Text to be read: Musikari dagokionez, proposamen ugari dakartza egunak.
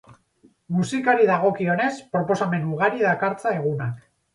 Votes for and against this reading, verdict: 4, 2, accepted